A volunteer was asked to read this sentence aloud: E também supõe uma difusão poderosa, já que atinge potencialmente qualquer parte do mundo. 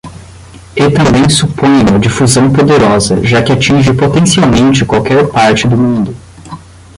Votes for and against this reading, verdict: 5, 5, rejected